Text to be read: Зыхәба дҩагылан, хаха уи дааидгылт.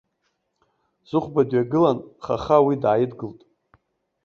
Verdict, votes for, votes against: rejected, 0, 2